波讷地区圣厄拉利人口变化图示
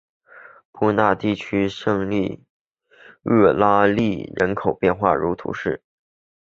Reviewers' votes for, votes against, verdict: 0, 2, rejected